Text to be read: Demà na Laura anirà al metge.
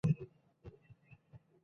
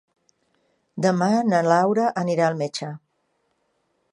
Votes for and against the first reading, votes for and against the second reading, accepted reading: 0, 3, 3, 0, second